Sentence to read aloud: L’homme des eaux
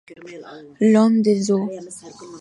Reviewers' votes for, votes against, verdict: 0, 2, rejected